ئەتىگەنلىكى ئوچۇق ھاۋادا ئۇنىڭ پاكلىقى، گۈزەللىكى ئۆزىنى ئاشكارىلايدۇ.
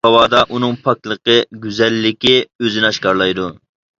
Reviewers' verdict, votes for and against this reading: rejected, 0, 2